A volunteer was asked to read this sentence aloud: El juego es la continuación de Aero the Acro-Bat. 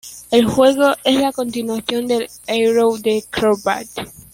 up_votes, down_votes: 1, 2